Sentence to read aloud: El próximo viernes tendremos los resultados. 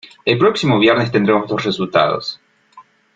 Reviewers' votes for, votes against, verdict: 2, 0, accepted